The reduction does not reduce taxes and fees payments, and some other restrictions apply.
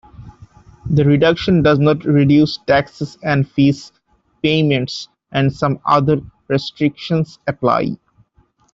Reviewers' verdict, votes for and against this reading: accepted, 2, 0